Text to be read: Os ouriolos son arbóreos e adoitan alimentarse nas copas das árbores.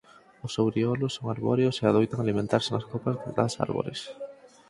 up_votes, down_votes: 4, 2